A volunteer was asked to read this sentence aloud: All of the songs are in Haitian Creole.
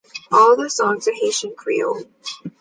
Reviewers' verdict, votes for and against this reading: rejected, 1, 2